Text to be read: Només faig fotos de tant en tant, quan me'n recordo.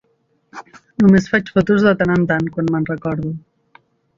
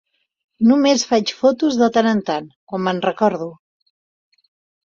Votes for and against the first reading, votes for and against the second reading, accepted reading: 1, 2, 2, 0, second